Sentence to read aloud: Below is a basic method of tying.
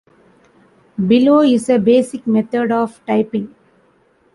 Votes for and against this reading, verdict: 0, 2, rejected